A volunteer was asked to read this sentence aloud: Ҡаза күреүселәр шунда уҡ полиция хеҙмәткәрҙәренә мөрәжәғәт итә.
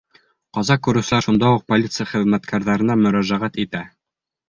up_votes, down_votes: 2, 0